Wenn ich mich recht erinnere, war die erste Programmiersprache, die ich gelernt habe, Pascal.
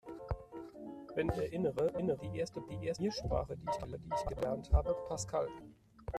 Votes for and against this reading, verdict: 0, 2, rejected